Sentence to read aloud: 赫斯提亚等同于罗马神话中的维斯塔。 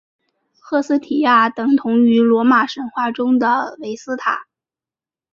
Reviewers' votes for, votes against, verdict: 4, 0, accepted